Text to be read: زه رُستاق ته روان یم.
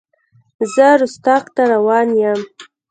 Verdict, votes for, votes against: accepted, 2, 0